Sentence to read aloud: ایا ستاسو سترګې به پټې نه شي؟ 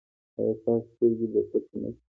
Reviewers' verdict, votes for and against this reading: accepted, 2, 0